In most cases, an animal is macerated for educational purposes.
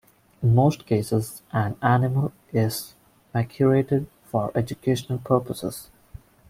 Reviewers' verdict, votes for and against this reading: rejected, 1, 3